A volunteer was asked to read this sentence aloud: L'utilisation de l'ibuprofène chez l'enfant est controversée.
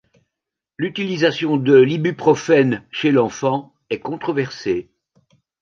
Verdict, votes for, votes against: accepted, 2, 0